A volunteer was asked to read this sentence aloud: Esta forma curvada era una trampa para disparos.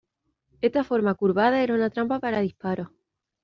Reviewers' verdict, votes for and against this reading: accepted, 2, 0